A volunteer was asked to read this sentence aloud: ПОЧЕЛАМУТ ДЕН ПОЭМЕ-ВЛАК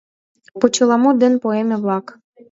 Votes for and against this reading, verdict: 2, 0, accepted